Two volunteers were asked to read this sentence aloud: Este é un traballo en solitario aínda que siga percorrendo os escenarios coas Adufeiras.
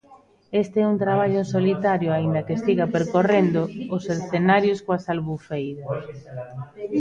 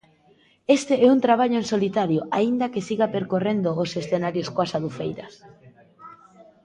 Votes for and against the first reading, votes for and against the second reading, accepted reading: 0, 2, 2, 0, second